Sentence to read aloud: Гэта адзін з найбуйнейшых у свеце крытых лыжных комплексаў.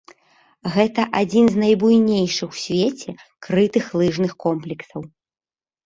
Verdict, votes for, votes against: accepted, 2, 0